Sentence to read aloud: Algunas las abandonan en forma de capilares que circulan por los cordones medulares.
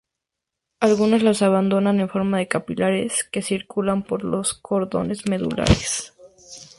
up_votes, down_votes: 4, 0